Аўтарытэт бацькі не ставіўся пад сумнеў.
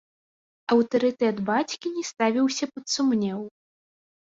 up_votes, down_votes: 1, 2